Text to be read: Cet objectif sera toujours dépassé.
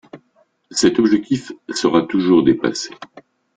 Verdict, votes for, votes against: accepted, 2, 1